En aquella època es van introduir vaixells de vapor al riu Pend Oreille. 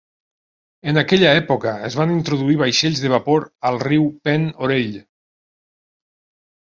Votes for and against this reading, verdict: 2, 0, accepted